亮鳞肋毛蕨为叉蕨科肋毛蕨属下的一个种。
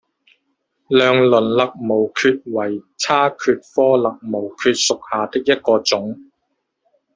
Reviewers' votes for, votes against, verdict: 0, 2, rejected